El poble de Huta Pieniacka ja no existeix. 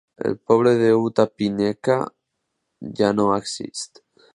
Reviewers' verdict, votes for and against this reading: rejected, 1, 3